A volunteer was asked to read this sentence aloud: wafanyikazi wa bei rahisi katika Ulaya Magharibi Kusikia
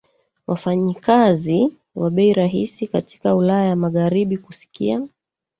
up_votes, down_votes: 2, 1